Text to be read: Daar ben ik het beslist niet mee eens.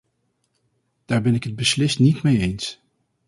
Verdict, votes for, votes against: accepted, 4, 0